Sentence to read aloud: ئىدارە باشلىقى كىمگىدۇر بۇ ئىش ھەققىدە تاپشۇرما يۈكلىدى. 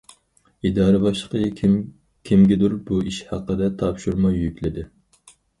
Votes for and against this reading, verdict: 0, 4, rejected